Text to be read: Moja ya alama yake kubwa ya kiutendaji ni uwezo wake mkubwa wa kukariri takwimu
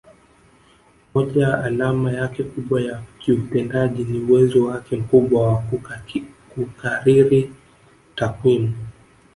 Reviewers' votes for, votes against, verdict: 2, 3, rejected